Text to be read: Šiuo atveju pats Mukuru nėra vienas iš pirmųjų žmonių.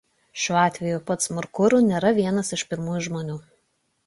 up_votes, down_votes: 0, 2